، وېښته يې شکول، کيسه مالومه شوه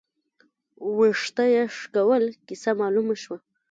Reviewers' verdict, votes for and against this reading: rejected, 1, 2